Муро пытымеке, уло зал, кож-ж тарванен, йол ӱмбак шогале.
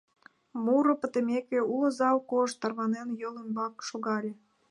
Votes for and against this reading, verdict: 2, 0, accepted